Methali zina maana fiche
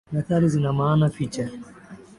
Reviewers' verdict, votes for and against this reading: rejected, 0, 2